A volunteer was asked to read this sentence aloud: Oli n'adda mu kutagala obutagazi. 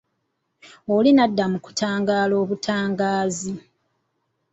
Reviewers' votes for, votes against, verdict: 0, 2, rejected